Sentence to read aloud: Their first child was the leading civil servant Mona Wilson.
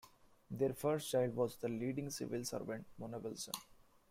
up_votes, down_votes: 2, 1